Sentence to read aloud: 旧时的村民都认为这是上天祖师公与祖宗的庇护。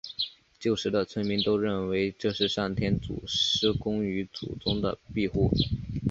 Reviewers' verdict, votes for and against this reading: accepted, 2, 0